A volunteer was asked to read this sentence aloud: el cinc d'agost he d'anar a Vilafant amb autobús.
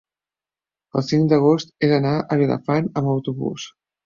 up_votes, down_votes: 3, 0